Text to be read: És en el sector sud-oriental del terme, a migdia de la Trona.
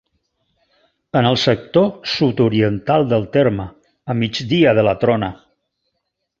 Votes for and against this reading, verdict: 1, 2, rejected